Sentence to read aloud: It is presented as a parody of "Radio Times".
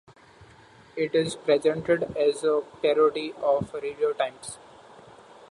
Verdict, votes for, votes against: accepted, 2, 1